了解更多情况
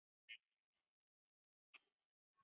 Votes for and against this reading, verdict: 1, 2, rejected